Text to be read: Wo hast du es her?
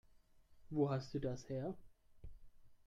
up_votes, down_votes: 1, 3